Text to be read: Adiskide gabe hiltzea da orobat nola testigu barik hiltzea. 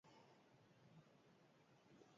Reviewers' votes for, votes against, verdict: 0, 4, rejected